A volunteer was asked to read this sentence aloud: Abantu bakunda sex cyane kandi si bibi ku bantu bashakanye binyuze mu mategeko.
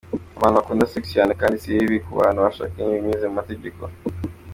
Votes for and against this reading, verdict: 2, 0, accepted